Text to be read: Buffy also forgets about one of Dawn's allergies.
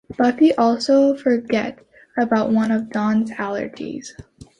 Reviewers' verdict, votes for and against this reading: rejected, 1, 2